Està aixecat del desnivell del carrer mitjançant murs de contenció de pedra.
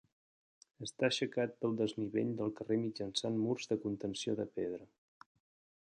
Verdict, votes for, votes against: accepted, 2, 1